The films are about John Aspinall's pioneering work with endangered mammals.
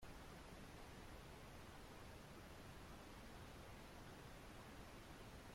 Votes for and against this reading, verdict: 0, 2, rejected